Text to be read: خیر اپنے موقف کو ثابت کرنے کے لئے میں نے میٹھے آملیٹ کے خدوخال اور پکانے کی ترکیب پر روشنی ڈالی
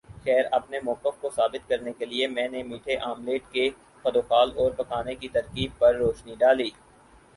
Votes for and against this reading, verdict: 6, 0, accepted